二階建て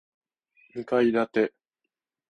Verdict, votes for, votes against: accepted, 14, 0